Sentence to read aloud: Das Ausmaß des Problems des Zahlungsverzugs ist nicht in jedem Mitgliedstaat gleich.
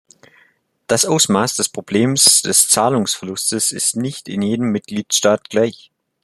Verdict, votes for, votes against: rejected, 0, 2